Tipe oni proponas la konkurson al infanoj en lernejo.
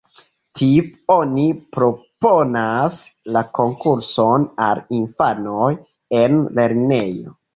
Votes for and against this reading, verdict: 2, 3, rejected